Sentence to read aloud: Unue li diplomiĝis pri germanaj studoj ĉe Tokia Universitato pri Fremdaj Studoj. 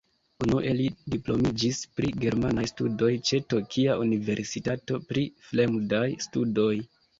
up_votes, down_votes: 2, 0